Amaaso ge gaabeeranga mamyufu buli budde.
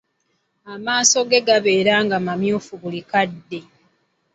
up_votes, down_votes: 1, 2